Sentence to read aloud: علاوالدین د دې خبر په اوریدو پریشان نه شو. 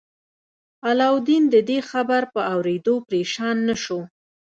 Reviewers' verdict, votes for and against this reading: accepted, 2, 0